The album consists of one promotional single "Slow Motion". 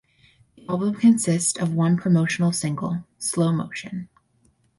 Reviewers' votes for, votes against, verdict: 0, 2, rejected